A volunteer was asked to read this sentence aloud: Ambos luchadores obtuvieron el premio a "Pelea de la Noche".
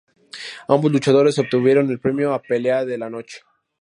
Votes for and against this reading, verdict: 2, 0, accepted